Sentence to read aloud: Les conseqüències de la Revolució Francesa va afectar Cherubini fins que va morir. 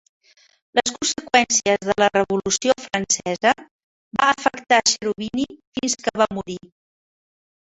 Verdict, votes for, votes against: rejected, 0, 2